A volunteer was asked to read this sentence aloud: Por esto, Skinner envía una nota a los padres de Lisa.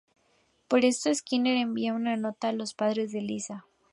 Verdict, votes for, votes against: accepted, 2, 0